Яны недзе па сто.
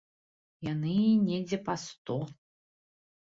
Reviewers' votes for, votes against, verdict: 3, 0, accepted